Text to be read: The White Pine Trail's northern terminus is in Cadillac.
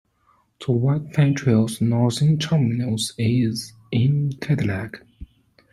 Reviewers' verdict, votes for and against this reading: accepted, 2, 0